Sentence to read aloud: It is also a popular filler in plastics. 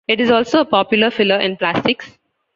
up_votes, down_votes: 2, 0